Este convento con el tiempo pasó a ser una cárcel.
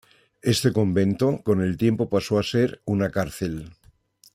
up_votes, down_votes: 2, 1